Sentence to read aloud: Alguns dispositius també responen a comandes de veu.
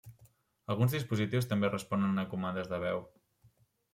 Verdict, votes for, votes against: accepted, 2, 0